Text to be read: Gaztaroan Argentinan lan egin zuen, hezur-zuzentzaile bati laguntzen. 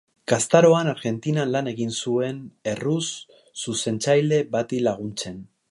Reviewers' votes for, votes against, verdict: 0, 2, rejected